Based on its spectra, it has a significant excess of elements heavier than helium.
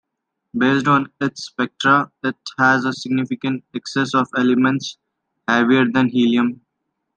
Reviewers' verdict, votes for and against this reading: accepted, 2, 0